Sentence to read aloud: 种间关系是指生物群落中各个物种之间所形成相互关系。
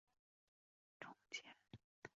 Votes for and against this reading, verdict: 0, 3, rejected